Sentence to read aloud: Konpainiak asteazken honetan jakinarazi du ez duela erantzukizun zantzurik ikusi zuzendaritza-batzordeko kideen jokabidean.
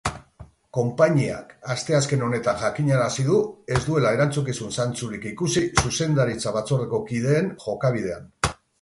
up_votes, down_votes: 4, 0